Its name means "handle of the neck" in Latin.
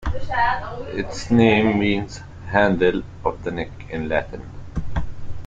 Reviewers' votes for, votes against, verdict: 0, 2, rejected